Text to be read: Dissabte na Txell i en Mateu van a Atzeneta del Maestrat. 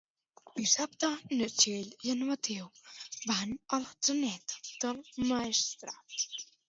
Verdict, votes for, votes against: accepted, 2, 0